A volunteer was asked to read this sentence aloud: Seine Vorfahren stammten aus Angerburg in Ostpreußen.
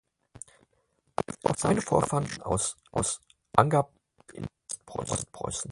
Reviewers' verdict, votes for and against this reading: rejected, 0, 4